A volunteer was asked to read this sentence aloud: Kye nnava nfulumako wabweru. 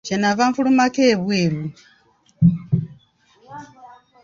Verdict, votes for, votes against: rejected, 1, 2